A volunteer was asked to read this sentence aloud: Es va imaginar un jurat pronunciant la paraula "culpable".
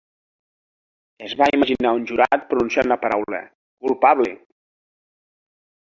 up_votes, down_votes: 3, 2